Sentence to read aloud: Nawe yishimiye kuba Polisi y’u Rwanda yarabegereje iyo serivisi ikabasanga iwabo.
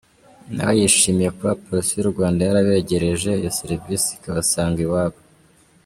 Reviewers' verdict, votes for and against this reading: accepted, 3, 1